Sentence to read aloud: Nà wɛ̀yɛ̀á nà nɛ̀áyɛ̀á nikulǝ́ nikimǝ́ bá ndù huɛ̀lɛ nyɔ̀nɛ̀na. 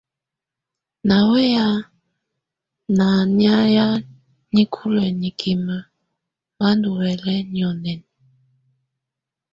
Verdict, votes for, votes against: accepted, 2, 0